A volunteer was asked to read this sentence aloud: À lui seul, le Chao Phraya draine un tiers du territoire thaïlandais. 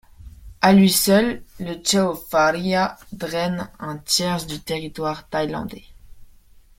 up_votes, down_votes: 2, 0